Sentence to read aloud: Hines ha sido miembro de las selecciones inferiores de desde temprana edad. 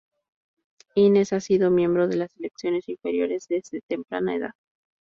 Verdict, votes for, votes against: accepted, 2, 0